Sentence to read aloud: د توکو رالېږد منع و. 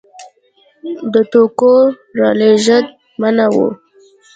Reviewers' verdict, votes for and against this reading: accepted, 2, 0